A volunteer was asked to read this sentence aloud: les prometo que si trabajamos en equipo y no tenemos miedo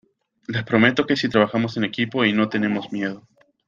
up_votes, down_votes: 2, 0